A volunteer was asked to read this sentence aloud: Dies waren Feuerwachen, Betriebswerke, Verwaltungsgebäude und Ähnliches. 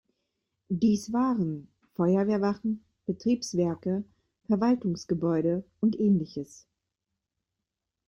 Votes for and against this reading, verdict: 1, 2, rejected